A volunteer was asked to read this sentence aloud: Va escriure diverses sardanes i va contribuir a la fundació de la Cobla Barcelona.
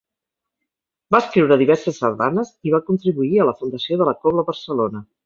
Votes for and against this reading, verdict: 4, 0, accepted